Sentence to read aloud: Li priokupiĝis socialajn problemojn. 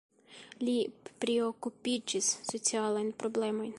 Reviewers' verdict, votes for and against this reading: rejected, 1, 2